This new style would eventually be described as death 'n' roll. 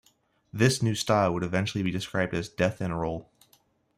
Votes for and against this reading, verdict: 2, 1, accepted